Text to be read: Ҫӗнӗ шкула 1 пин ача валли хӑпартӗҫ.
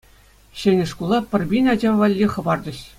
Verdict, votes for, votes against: rejected, 0, 2